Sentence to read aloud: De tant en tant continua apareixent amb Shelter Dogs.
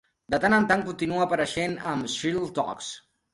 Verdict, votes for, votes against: rejected, 1, 2